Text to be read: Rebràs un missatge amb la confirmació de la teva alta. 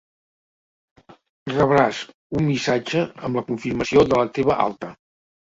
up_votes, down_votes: 2, 0